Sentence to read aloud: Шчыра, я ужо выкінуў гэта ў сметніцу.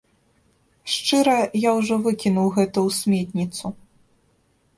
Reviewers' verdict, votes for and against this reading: accepted, 2, 0